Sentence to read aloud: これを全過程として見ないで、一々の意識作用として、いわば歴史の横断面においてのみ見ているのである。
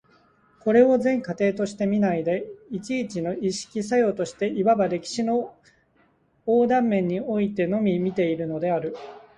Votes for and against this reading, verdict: 2, 0, accepted